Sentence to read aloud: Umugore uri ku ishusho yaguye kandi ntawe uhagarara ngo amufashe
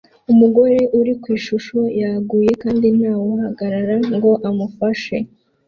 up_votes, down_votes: 2, 0